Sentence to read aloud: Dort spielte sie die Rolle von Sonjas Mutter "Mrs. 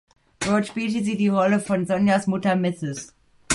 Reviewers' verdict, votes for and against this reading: accepted, 2, 0